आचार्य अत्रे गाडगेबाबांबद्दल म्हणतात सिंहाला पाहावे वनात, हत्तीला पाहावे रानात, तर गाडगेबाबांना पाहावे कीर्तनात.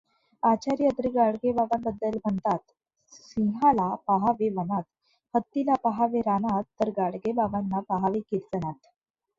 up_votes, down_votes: 2, 0